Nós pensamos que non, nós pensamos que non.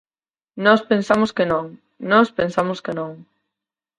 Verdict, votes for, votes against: accepted, 4, 0